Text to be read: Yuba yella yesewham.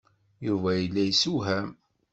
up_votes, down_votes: 2, 0